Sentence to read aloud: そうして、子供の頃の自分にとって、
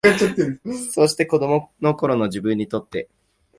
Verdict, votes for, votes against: rejected, 1, 2